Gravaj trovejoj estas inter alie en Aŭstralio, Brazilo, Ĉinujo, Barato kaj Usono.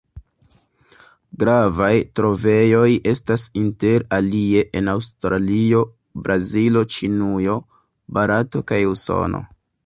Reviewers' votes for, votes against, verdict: 2, 0, accepted